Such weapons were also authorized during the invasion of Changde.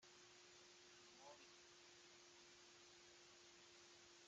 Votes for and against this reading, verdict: 0, 2, rejected